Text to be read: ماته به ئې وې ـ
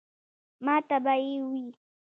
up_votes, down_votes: 2, 0